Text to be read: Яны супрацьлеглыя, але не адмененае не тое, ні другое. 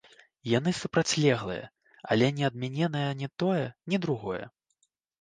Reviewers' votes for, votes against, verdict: 0, 2, rejected